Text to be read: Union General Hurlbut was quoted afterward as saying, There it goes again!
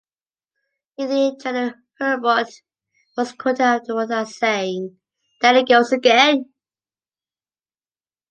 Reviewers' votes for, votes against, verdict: 2, 0, accepted